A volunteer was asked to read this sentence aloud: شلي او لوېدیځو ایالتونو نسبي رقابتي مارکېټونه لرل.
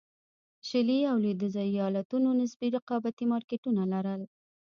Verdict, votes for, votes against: rejected, 1, 2